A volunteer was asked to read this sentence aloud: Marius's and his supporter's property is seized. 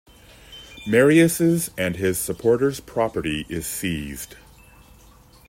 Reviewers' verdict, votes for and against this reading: accepted, 2, 0